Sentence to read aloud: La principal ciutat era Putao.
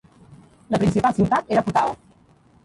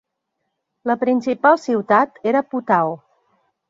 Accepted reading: second